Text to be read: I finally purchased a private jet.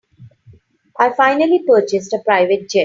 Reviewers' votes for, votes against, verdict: 2, 1, accepted